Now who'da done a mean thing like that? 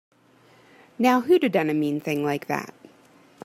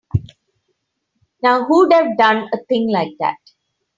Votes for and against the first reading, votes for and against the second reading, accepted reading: 2, 0, 0, 3, first